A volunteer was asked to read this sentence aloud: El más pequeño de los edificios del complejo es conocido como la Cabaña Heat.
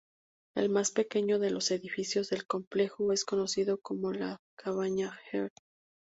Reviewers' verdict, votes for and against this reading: rejected, 0, 2